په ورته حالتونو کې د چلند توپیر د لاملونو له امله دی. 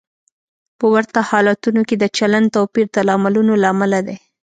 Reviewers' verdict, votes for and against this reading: accepted, 2, 0